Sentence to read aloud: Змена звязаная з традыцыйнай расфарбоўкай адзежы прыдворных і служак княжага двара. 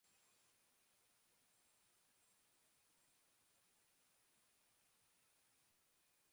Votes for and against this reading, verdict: 0, 2, rejected